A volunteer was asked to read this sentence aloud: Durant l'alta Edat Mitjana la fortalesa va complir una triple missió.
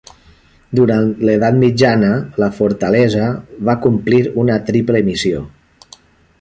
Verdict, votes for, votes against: rejected, 0, 2